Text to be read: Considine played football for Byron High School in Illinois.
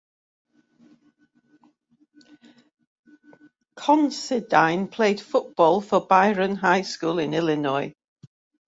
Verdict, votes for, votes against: accepted, 2, 0